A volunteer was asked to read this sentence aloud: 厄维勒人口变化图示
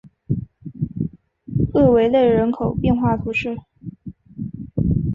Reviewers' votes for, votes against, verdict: 9, 0, accepted